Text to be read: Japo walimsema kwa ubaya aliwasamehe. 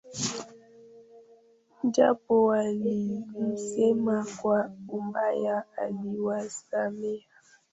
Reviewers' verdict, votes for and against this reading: rejected, 0, 2